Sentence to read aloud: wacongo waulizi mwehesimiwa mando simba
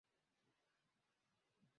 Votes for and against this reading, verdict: 1, 12, rejected